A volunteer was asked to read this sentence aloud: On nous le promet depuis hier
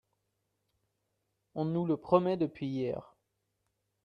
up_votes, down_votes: 2, 0